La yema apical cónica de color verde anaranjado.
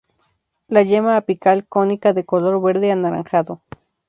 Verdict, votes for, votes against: accepted, 2, 0